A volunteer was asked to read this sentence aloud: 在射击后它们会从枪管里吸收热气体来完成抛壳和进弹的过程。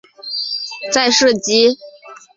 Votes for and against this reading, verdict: 0, 4, rejected